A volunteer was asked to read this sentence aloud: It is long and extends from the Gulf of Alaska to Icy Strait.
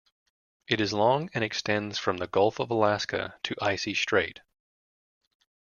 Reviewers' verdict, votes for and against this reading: accepted, 2, 0